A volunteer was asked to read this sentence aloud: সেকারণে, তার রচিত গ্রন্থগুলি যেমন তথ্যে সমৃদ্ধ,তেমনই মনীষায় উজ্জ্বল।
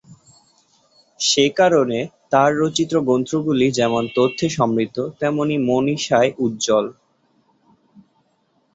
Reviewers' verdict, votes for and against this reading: accepted, 2, 0